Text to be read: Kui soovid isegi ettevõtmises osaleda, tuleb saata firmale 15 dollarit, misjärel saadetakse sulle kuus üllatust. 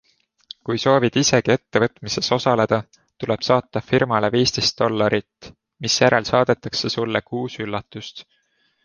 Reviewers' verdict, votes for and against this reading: rejected, 0, 2